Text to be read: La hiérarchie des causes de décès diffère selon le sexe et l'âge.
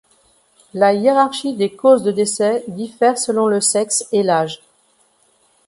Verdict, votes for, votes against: accepted, 2, 0